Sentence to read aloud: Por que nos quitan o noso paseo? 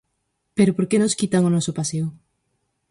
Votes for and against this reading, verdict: 0, 4, rejected